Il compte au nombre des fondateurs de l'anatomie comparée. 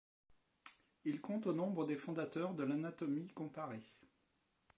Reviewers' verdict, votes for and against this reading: accepted, 2, 1